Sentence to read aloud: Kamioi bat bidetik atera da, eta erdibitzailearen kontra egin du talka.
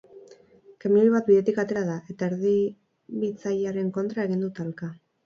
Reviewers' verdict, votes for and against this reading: accepted, 4, 0